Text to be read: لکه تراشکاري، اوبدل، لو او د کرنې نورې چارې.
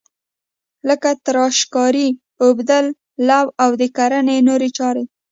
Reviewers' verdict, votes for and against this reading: rejected, 0, 2